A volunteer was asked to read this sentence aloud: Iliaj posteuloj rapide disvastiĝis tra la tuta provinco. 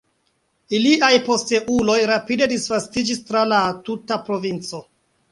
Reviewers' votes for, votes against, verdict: 3, 2, accepted